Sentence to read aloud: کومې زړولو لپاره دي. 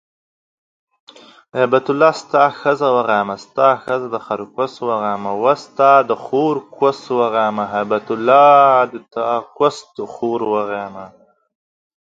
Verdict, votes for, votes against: rejected, 0, 2